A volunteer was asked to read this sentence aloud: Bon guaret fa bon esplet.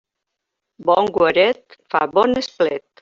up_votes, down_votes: 2, 1